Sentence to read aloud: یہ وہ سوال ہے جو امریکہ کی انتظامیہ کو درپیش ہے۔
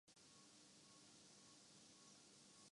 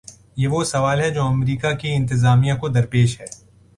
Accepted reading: second